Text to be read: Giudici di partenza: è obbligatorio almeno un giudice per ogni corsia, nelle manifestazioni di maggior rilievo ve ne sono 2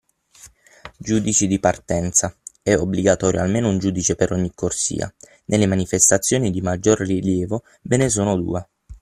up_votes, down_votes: 0, 2